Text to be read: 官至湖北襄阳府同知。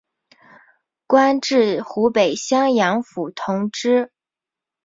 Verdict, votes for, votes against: accepted, 3, 0